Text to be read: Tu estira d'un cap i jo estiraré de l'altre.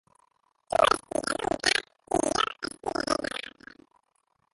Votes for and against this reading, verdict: 0, 2, rejected